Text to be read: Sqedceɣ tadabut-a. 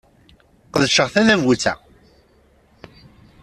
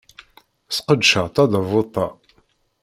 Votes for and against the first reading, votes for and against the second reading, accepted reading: 2, 0, 0, 2, first